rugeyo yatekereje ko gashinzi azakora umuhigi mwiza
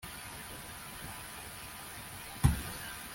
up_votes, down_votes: 0, 2